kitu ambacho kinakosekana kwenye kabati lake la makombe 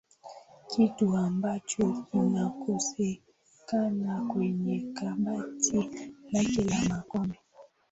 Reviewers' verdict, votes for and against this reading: accepted, 2, 0